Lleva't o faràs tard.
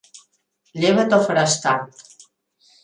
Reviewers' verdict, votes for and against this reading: accepted, 2, 0